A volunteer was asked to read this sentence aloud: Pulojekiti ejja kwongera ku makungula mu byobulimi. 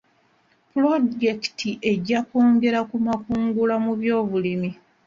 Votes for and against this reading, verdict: 0, 2, rejected